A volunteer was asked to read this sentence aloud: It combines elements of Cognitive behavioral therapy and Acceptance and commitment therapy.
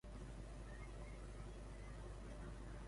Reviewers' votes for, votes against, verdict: 0, 2, rejected